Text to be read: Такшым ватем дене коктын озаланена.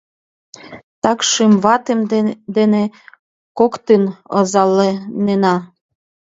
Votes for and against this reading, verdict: 0, 2, rejected